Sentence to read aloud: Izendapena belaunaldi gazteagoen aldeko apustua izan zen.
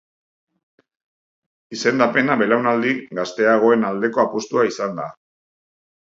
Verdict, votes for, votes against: rejected, 0, 3